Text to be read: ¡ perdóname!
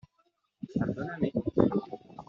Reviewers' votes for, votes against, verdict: 1, 2, rejected